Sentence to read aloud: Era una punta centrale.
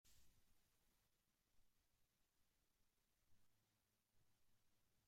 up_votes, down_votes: 0, 2